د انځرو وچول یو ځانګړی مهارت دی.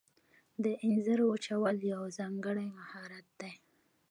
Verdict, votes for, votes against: rejected, 0, 2